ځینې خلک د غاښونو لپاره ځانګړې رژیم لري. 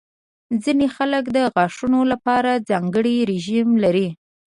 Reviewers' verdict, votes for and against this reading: accepted, 2, 0